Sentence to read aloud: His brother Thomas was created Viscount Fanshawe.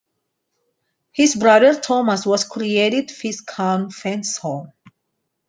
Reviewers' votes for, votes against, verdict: 2, 1, accepted